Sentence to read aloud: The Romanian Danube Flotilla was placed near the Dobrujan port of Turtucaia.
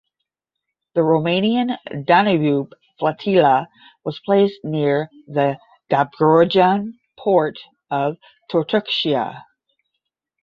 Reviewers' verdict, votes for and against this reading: rejected, 0, 10